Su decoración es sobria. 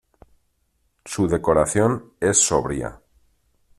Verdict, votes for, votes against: accepted, 2, 0